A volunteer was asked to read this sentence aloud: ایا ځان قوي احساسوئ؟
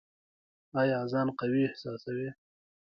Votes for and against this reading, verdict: 1, 2, rejected